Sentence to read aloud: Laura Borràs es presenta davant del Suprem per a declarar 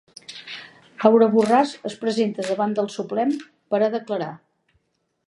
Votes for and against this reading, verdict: 2, 1, accepted